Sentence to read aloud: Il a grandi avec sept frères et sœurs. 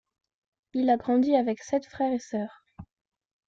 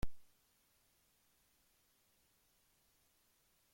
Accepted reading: first